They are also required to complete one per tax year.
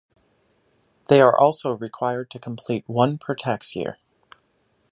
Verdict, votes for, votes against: accepted, 2, 0